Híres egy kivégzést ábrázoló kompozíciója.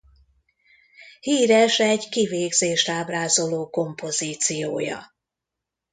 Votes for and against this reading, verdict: 2, 0, accepted